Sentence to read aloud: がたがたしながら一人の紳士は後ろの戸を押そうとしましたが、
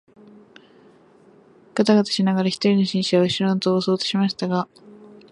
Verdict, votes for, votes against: accepted, 2, 0